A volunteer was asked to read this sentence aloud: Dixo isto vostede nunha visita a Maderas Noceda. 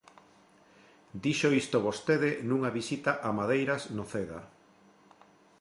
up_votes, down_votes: 0, 2